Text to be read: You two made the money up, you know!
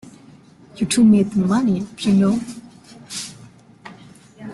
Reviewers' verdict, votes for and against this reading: rejected, 0, 2